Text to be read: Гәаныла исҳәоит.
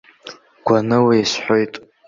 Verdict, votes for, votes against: accepted, 2, 0